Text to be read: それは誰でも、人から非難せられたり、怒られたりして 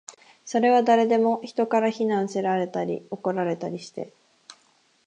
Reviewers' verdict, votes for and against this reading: accepted, 6, 0